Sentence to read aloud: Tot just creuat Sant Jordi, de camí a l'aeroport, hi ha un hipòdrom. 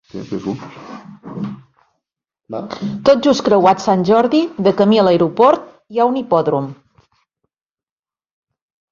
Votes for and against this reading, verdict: 0, 3, rejected